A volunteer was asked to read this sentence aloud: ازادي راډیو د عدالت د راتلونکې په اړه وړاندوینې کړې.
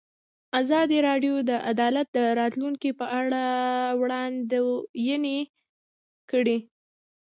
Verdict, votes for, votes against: rejected, 1, 2